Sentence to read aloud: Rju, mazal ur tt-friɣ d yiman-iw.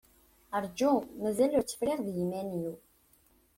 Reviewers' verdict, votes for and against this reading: accepted, 2, 0